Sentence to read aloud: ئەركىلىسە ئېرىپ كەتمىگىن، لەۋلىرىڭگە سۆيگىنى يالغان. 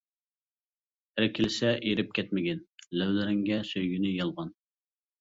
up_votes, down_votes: 2, 0